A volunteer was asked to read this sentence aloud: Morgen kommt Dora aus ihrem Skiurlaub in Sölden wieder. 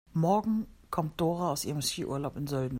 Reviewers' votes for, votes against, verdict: 0, 2, rejected